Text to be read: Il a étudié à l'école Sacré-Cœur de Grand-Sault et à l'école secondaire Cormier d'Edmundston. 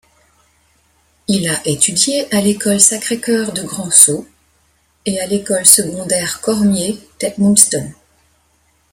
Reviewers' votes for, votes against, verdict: 2, 0, accepted